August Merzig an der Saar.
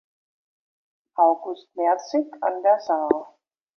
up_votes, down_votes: 2, 0